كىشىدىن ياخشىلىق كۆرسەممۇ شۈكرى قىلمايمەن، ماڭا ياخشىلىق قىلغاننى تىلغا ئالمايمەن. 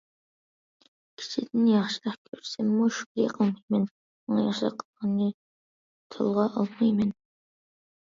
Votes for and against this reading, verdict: 0, 2, rejected